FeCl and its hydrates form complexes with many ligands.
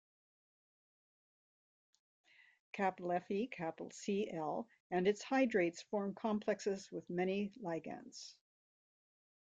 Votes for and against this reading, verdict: 0, 2, rejected